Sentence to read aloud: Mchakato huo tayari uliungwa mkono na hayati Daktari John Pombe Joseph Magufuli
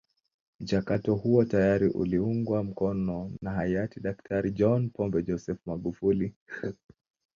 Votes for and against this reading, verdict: 3, 0, accepted